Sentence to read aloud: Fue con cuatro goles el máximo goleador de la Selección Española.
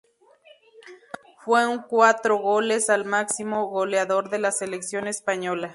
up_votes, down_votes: 2, 0